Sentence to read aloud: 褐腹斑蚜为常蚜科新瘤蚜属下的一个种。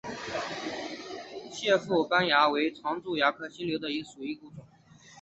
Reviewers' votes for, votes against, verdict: 2, 0, accepted